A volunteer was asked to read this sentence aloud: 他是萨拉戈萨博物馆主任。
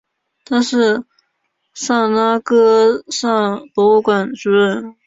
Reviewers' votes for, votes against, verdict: 4, 0, accepted